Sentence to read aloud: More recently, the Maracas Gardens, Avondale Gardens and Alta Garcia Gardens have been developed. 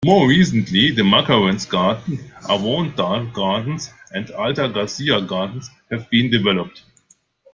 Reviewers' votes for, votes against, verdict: 0, 2, rejected